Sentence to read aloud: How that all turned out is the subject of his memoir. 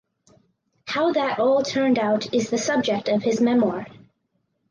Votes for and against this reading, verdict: 4, 2, accepted